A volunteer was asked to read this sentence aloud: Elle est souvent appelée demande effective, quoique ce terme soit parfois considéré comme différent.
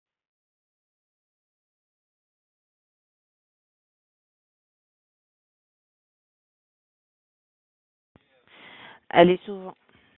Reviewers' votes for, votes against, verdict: 0, 2, rejected